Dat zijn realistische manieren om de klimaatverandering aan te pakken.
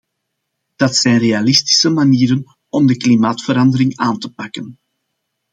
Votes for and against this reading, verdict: 2, 0, accepted